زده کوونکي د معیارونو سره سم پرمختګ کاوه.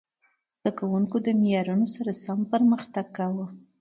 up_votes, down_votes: 2, 1